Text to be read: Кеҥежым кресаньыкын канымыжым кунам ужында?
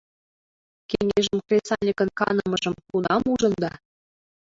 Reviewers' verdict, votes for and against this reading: rejected, 1, 2